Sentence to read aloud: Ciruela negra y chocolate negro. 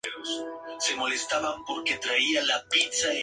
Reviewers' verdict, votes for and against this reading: rejected, 0, 2